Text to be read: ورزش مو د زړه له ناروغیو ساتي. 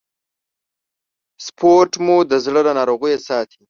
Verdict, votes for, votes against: rejected, 1, 2